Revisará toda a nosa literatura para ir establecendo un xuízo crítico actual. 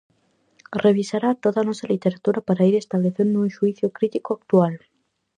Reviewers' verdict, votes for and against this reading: accepted, 4, 0